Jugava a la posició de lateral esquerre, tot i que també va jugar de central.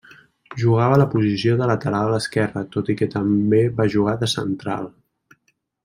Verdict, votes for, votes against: rejected, 0, 2